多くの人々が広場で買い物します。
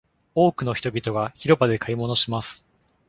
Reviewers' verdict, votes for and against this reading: accepted, 2, 0